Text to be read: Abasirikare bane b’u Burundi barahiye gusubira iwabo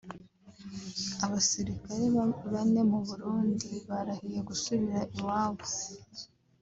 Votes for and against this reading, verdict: 1, 2, rejected